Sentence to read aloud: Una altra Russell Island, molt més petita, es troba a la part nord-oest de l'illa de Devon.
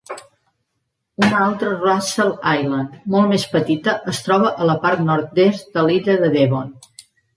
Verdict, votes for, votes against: rejected, 0, 2